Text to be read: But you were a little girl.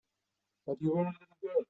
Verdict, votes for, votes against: rejected, 0, 3